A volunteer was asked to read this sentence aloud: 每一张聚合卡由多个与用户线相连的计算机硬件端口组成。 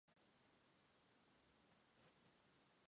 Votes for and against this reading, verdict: 0, 2, rejected